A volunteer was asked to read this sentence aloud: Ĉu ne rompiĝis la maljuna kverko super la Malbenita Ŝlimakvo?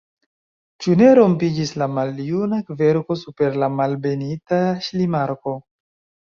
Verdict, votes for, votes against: accepted, 3, 0